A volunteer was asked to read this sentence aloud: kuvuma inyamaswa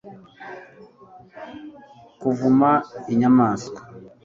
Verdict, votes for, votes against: accepted, 2, 0